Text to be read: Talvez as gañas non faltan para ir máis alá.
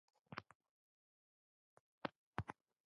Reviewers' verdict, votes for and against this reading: rejected, 0, 2